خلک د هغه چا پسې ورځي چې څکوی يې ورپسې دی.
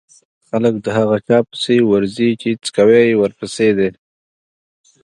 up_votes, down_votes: 2, 0